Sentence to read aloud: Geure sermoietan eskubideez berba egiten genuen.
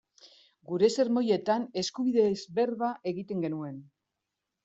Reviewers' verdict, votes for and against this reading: accepted, 2, 0